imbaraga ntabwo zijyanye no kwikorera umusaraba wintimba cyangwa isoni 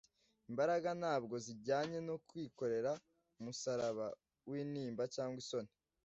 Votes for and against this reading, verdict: 2, 0, accepted